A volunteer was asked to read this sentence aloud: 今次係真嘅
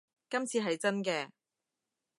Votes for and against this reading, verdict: 2, 0, accepted